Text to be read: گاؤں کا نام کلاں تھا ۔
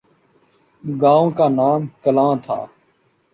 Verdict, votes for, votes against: accepted, 2, 0